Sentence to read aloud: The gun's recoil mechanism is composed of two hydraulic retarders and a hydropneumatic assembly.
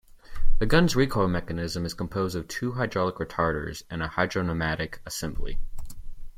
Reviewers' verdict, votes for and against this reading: accepted, 2, 0